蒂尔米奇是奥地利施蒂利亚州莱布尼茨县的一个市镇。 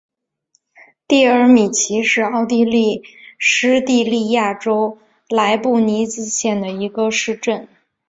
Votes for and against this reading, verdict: 1, 2, rejected